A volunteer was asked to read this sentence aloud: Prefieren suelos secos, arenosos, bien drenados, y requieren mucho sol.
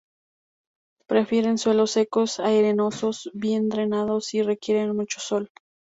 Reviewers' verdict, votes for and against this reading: rejected, 0, 2